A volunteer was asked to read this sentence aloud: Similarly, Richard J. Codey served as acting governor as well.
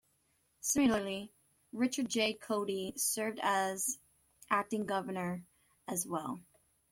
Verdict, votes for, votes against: accepted, 2, 0